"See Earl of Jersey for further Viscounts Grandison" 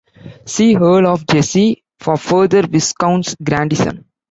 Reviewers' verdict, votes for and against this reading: rejected, 1, 2